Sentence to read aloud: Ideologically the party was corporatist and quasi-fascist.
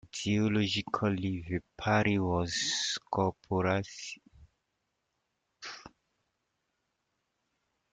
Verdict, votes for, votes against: rejected, 0, 2